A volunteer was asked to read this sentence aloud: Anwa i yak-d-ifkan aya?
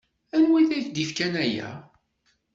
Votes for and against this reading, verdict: 1, 2, rejected